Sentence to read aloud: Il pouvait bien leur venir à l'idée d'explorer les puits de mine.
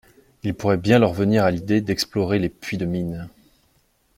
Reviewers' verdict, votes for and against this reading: rejected, 0, 2